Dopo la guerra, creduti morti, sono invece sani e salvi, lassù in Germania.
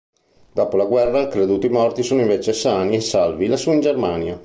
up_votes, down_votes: 2, 0